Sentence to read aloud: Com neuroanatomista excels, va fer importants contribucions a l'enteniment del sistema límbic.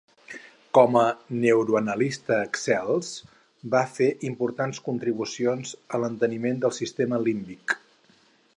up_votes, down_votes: 0, 4